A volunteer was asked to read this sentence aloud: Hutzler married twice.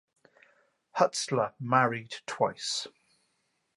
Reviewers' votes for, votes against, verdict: 2, 0, accepted